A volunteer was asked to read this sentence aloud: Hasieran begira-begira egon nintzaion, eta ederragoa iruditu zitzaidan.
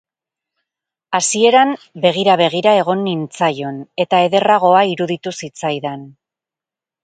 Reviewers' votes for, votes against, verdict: 2, 0, accepted